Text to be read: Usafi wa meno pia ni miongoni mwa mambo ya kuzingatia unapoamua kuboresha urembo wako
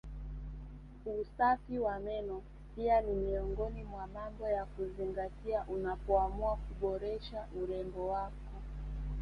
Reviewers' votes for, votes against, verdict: 3, 0, accepted